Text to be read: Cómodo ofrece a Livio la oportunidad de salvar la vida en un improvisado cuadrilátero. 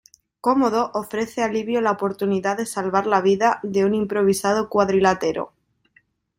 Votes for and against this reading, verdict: 0, 2, rejected